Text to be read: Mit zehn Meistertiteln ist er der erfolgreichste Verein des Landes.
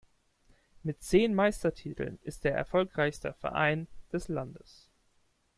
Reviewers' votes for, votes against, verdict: 0, 2, rejected